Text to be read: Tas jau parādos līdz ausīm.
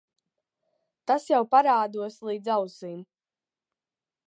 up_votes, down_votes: 5, 0